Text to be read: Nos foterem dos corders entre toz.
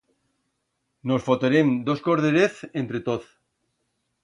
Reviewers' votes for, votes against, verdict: 1, 2, rejected